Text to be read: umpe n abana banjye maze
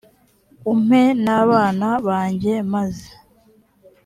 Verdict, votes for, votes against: accepted, 3, 0